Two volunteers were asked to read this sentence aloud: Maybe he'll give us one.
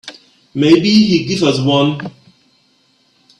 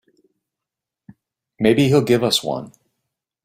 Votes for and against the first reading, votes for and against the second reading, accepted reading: 1, 2, 3, 0, second